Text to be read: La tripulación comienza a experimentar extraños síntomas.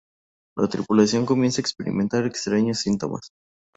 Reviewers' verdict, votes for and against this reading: accepted, 2, 0